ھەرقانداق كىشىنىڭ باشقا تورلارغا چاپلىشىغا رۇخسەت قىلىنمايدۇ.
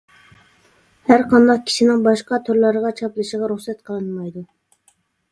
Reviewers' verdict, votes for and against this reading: accepted, 2, 0